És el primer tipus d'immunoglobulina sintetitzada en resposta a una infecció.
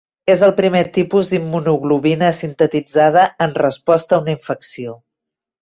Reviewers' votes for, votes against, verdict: 2, 1, accepted